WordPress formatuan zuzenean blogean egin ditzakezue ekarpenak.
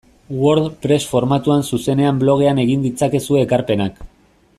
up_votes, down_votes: 2, 0